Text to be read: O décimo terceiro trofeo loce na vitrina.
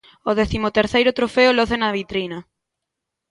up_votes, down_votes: 2, 0